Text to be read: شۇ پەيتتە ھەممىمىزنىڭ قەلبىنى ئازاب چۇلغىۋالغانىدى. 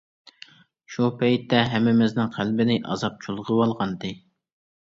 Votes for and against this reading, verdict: 2, 0, accepted